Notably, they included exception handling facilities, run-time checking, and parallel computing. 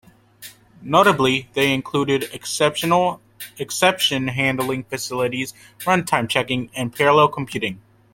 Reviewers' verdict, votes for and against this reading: rejected, 1, 2